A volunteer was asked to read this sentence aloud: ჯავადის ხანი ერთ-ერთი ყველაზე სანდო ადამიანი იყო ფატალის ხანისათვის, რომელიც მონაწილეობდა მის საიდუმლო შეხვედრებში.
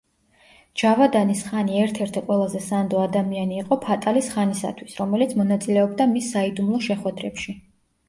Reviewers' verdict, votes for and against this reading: rejected, 1, 2